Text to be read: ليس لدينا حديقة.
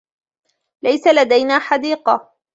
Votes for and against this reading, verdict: 2, 0, accepted